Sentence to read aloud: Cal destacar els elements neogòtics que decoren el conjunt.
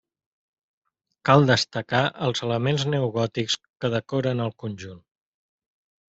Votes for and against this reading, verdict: 3, 1, accepted